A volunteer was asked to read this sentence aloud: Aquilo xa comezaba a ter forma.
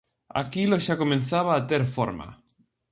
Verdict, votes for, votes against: rejected, 0, 2